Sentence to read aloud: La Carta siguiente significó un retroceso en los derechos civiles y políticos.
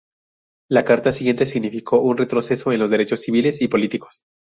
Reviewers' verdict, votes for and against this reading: accepted, 4, 2